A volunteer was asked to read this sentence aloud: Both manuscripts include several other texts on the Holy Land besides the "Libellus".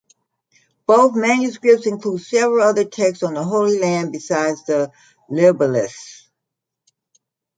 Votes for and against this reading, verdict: 2, 1, accepted